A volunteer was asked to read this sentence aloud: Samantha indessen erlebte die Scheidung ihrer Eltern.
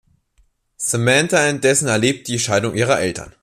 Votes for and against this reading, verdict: 1, 2, rejected